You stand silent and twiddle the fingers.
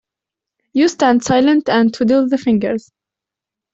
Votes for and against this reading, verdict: 2, 0, accepted